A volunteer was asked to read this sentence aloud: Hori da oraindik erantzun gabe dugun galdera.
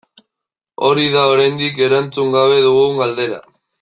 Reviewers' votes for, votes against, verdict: 2, 0, accepted